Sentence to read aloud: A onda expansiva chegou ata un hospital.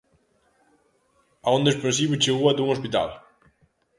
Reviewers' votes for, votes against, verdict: 2, 0, accepted